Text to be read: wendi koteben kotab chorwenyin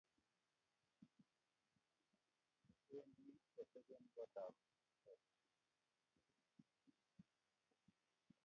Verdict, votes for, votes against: rejected, 0, 2